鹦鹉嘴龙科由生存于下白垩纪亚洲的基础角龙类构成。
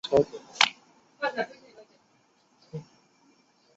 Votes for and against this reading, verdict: 0, 3, rejected